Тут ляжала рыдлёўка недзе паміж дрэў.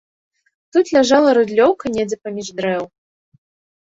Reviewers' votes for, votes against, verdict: 2, 0, accepted